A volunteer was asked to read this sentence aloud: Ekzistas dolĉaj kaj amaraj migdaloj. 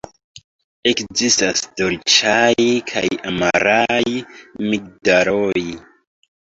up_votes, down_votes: 2, 1